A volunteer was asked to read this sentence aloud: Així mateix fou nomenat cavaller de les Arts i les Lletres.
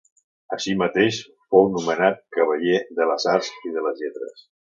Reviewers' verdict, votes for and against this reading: rejected, 0, 2